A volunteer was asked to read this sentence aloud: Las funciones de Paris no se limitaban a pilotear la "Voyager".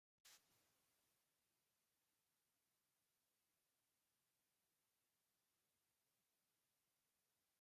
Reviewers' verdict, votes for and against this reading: rejected, 0, 2